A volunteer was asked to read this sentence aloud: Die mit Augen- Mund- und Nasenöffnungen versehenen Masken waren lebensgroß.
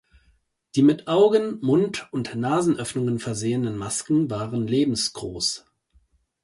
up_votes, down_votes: 2, 0